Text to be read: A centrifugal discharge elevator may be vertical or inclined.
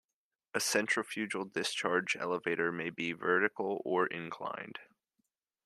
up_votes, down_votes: 3, 1